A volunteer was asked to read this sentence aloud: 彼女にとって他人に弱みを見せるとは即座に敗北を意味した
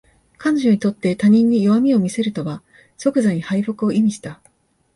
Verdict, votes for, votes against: accepted, 3, 2